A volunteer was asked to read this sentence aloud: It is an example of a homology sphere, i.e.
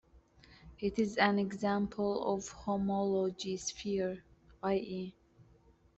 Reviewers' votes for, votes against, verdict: 1, 2, rejected